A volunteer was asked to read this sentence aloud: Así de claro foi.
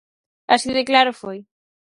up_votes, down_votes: 4, 0